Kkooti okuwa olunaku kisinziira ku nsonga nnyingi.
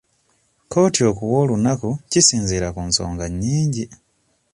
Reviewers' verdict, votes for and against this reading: accepted, 2, 0